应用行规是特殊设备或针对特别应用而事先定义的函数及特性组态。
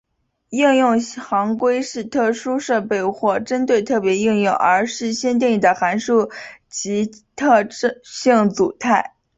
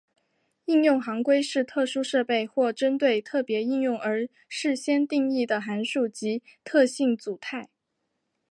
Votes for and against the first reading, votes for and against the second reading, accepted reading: 0, 2, 2, 0, second